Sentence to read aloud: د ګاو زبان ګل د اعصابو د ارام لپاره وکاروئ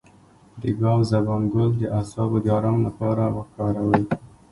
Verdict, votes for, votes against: accepted, 2, 1